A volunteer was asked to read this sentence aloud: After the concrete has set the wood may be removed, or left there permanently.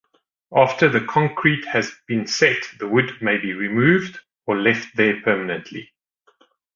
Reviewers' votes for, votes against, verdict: 0, 2, rejected